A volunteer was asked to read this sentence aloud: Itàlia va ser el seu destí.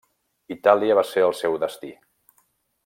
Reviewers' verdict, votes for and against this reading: accepted, 3, 0